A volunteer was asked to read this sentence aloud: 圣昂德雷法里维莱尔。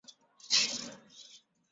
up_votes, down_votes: 0, 3